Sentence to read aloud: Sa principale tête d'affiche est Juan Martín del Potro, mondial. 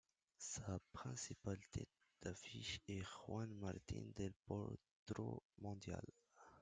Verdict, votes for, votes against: accepted, 2, 0